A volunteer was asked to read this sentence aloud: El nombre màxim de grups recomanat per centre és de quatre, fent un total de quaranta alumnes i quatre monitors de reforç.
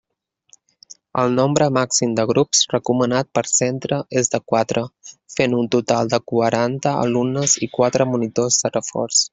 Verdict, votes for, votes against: accepted, 3, 0